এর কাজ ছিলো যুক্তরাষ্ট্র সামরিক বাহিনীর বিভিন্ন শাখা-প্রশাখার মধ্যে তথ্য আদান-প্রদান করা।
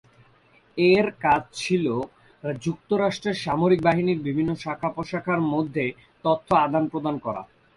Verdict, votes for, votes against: rejected, 1, 2